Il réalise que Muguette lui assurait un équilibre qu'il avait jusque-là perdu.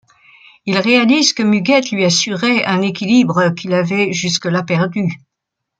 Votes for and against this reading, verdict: 2, 0, accepted